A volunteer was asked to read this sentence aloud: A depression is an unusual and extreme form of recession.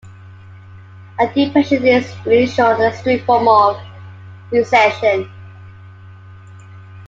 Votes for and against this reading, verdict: 2, 0, accepted